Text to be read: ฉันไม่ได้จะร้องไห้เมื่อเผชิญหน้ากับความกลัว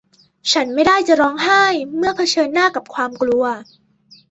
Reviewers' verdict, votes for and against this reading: accepted, 2, 0